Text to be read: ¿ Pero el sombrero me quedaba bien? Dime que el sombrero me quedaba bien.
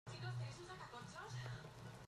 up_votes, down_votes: 0, 2